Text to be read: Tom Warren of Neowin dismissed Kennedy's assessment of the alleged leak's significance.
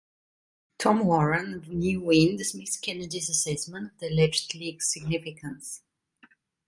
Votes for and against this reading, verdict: 1, 2, rejected